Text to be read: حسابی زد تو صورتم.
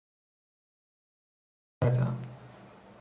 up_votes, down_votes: 0, 2